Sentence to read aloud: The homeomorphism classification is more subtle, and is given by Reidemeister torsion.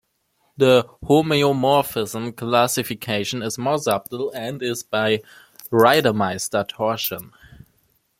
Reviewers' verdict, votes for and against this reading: rejected, 1, 2